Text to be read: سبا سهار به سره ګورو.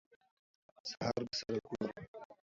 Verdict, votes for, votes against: rejected, 0, 2